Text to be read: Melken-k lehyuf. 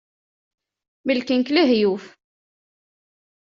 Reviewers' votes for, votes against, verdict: 2, 0, accepted